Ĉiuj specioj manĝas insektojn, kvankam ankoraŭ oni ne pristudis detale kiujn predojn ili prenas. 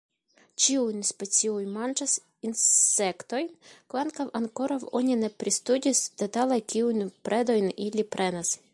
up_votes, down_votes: 1, 2